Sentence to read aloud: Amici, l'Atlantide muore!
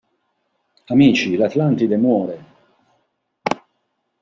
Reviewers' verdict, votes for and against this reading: accepted, 2, 0